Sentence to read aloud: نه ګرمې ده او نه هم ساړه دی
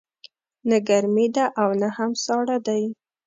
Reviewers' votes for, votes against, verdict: 2, 0, accepted